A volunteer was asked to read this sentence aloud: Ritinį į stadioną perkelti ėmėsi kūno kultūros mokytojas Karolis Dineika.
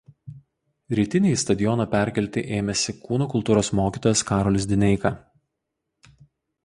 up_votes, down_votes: 0, 2